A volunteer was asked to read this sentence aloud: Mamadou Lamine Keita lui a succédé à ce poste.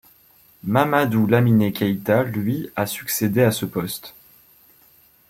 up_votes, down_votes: 1, 2